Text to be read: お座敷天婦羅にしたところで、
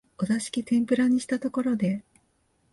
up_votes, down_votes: 2, 0